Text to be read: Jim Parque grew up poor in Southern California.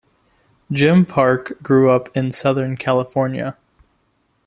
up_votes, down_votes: 0, 2